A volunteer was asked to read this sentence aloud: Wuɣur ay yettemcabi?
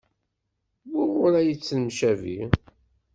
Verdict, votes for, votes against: rejected, 1, 2